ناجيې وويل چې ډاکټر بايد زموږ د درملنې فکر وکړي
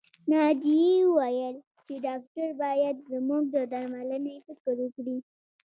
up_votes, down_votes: 2, 0